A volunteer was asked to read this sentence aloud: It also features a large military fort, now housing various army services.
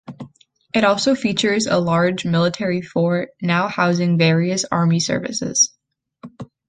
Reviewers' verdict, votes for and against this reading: accepted, 3, 0